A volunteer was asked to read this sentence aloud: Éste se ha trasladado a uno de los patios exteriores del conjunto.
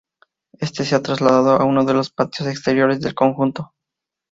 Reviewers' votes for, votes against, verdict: 4, 0, accepted